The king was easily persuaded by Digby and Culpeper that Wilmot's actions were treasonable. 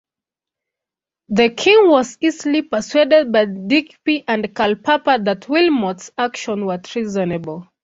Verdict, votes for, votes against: rejected, 1, 2